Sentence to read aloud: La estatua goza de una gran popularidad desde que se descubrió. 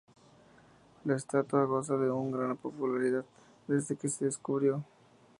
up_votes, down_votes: 2, 0